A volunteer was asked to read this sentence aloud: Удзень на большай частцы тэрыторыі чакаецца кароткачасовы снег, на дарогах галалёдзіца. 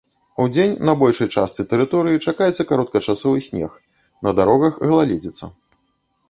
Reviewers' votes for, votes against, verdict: 1, 2, rejected